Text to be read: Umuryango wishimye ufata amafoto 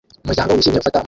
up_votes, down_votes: 0, 2